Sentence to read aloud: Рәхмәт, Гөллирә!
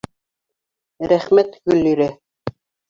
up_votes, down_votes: 2, 0